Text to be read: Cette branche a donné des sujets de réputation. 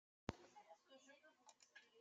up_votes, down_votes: 0, 2